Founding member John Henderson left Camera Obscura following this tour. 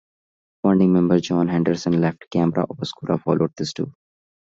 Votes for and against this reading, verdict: 2, 1, accepted